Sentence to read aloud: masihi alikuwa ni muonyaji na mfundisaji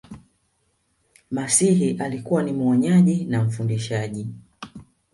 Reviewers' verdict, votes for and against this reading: rejected, 1, 2